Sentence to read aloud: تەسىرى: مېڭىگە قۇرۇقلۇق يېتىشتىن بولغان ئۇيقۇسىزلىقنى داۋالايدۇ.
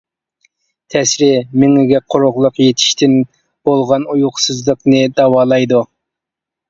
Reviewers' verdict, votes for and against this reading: rejected, 0, 2